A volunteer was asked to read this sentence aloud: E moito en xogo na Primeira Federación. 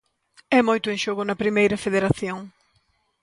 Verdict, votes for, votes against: accepted, 2, 0